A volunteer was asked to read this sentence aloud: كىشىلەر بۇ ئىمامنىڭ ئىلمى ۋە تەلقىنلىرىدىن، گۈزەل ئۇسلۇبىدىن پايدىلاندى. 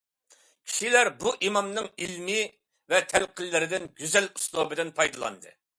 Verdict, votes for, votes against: accepted, 2, 0